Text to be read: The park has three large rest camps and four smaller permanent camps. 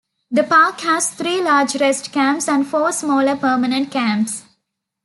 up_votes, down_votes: 2, 0